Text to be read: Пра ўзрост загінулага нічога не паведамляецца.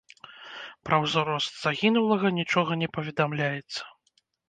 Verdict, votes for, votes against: rejected, 0, 2